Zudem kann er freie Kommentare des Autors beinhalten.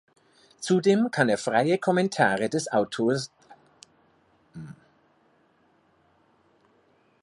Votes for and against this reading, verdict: 0, 2, rejected